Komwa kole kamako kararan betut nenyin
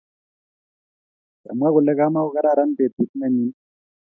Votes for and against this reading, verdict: 2, 0, accepted